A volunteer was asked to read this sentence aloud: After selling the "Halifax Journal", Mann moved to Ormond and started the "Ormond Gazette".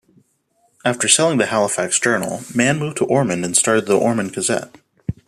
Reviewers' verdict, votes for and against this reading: accepted, 2, 0